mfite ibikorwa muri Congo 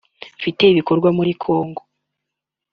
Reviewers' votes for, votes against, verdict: 2, 0, accepted